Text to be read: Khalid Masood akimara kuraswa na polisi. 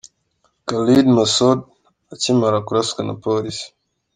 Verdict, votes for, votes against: accepted, 2, 0